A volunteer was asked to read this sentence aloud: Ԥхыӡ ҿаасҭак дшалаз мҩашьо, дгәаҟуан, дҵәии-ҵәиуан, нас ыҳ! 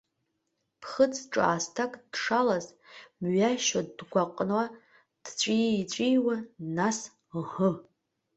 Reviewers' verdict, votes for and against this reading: rejected, 0, 2